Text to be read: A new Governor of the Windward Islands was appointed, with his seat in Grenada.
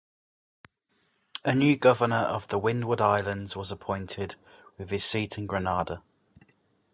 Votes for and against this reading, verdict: 2, 0, accepted